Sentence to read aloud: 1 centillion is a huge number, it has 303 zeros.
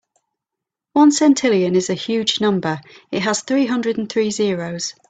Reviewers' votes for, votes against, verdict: 0, 2, rejected